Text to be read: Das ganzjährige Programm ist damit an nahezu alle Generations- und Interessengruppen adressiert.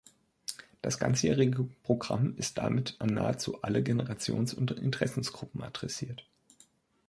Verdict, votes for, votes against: rejected, 1, 2